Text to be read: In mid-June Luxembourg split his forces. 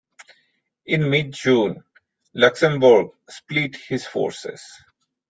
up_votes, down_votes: 2, 1